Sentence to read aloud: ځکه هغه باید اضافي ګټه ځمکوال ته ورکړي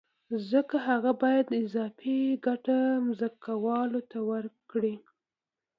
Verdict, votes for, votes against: accepted, 2, 1